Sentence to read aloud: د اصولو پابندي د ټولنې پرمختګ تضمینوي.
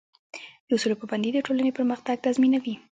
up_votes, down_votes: 0, 2